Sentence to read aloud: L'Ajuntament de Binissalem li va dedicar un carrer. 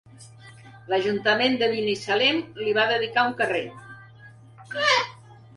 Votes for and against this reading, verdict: 2, 0, accepted